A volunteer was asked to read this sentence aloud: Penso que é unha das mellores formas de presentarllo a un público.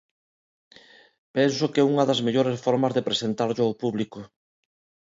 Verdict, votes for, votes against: rejected, 1, 2